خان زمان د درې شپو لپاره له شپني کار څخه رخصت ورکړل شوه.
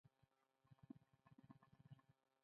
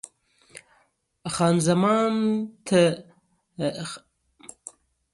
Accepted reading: first